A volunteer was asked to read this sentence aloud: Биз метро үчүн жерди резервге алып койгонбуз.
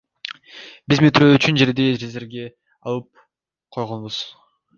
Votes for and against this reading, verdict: 2, 0, accepted